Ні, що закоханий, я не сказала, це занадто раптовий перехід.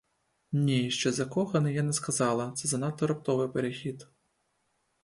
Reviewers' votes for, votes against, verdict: 2, 0, accepted